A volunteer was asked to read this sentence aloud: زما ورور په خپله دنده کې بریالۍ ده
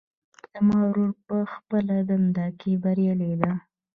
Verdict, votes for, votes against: accepted, 2, 0